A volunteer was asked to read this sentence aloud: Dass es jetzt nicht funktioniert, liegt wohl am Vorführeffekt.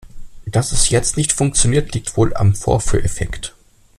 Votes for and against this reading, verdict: 2, 0, accepted